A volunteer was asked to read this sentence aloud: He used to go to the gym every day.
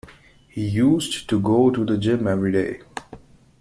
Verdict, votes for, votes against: accepted, 2, 0